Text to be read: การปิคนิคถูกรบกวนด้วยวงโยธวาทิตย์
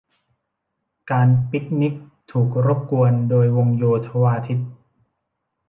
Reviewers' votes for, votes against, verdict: 1, 2, rejected